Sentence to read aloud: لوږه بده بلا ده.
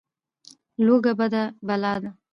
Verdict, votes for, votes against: accepted, 2, 0